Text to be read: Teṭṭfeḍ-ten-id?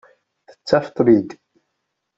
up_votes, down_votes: 0, 2